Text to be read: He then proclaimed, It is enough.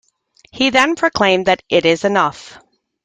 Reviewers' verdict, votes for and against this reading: rejected, 1, 2